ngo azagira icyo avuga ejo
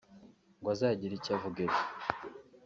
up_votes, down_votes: 3, 1